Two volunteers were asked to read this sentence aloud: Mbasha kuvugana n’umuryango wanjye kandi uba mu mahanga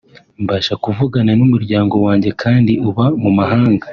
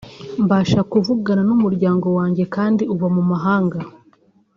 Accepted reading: second